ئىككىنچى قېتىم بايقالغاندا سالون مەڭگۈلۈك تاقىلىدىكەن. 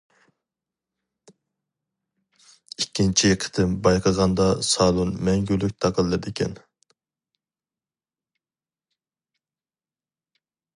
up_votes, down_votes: 0, 2